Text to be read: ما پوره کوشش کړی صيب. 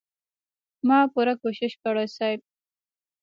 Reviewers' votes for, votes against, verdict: 2, 1, accepted